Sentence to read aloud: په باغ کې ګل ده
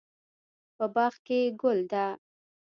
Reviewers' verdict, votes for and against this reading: rejected, 0, 2